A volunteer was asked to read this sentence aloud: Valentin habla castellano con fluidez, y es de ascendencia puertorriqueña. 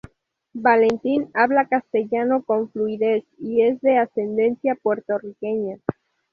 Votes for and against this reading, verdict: 2, 0, accepted